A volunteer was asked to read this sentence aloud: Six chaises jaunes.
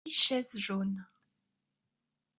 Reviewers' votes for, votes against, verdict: 0, 2, rejected